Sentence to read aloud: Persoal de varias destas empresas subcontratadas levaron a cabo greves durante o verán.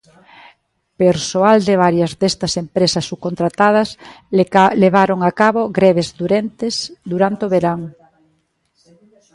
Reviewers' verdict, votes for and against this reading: rejected, 1, 2